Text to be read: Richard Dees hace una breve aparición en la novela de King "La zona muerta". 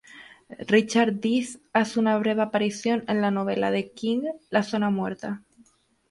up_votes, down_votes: 0, 2